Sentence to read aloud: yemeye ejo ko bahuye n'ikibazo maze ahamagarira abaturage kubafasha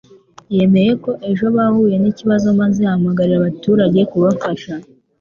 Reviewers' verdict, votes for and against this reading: rejected, 0, 2